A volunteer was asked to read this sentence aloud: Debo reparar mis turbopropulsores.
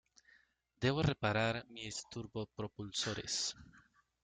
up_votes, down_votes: 2, 1